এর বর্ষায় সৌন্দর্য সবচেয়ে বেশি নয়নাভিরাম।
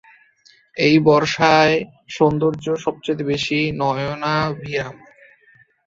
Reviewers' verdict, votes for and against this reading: rejected, 0, 2